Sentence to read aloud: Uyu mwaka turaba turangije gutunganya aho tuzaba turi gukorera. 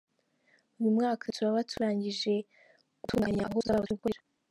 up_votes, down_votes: 2, 3